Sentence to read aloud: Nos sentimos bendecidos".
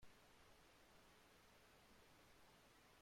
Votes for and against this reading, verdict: 0, 2, rejected